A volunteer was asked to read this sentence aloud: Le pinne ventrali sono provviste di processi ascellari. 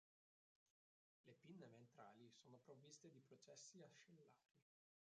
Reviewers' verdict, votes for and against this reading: rejected, 0, 2